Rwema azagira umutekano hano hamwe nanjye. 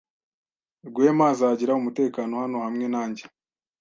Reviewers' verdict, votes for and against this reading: accepted, 2, 0